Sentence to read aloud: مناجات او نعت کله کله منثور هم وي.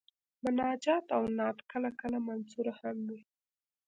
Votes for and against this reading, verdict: 2, 1, accepted